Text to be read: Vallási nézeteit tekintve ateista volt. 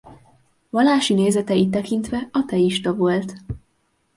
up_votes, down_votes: 2, 0